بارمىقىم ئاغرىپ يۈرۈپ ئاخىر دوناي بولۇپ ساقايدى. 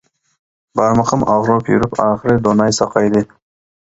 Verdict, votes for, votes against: rejected, 0, 2